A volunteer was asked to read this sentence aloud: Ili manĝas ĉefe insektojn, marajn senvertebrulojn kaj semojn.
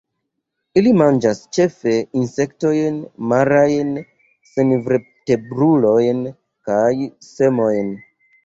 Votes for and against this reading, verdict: 0, 2, rejected